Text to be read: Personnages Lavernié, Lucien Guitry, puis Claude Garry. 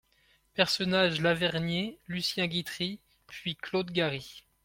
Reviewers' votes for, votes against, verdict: 2, 0, accepted